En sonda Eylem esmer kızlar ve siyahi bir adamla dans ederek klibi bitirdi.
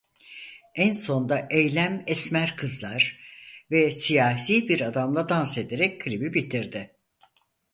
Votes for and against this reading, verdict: 0, 4, rejected